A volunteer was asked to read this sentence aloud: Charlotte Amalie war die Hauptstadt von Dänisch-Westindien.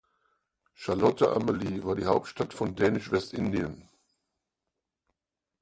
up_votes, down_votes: 4, 0